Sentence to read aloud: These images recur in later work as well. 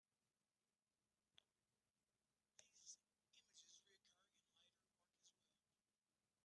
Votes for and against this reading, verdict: 0, 2, rejected